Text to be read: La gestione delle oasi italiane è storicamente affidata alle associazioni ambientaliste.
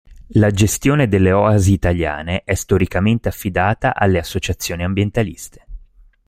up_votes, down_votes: 2, 0